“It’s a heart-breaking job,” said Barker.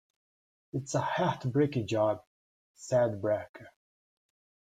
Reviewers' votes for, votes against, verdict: 2, 1, accepted